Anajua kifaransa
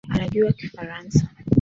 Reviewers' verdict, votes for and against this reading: accepted, 2, 1